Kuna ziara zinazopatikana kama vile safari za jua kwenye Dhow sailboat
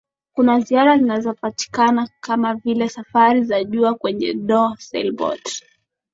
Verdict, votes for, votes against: accepted, 2, 0